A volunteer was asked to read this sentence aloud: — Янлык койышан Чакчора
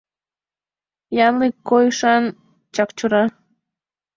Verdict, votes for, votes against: rejected, 0, 2